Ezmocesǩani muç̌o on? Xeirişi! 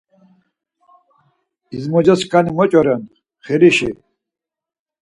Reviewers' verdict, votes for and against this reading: rejected, 0, 4